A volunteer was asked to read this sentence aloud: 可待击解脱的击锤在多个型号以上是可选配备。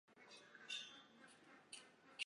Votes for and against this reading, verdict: 1, 2, rejected